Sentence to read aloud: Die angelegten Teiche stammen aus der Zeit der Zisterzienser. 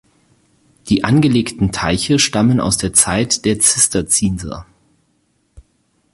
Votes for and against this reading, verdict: 2, 4, rejected